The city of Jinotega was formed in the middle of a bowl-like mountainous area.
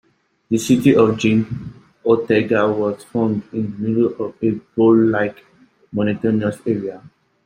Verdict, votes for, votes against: rejected, 1, 2